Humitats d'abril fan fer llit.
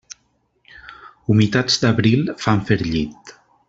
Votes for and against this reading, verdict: 3, 0, accepted